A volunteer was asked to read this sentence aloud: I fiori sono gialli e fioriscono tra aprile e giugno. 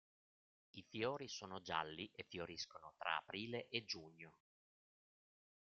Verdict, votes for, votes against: rejected, 1, 2